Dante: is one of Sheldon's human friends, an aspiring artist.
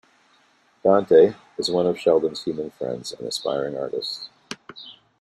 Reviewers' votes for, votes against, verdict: 2, 0, accepted